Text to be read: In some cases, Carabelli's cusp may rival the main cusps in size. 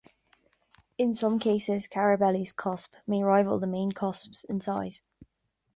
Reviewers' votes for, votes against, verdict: 2, 0, accepted